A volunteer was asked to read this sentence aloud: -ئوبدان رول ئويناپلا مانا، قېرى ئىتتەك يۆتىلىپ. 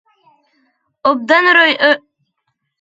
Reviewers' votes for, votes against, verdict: 0, 2, rejected